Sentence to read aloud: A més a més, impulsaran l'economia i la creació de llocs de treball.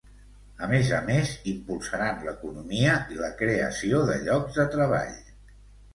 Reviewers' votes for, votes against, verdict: 2, 0, accepted